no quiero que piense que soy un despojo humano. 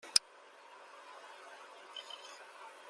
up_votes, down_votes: 0, 2